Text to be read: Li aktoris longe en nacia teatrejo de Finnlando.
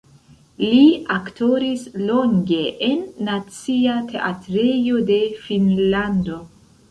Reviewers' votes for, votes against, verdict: 0, 2, rejected